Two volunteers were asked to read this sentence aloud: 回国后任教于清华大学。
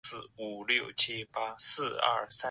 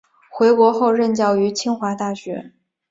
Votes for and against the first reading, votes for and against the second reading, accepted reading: 3, 4, 2, 1, second